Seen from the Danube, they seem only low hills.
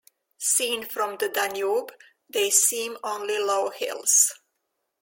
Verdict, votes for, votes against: accepted, 2, 0